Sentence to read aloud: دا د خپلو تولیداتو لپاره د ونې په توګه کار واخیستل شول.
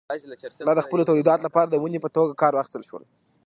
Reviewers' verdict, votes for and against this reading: accepted, 2, 1